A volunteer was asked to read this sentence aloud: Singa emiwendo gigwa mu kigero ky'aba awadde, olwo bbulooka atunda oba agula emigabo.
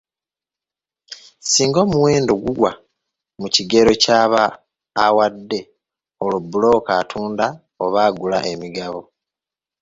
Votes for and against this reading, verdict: 0, 2, rejected